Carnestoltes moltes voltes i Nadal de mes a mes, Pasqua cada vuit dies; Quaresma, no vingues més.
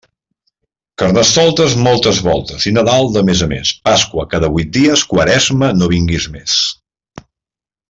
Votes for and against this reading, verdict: 0, 2, rejected